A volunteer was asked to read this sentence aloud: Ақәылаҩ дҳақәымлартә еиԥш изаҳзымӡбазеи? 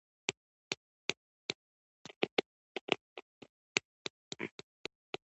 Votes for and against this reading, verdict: 0, 2, rejected